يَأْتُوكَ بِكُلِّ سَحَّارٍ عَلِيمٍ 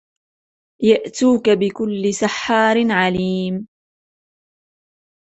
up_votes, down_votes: 2, 0